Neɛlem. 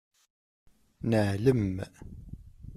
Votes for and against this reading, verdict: 2, 0, accepted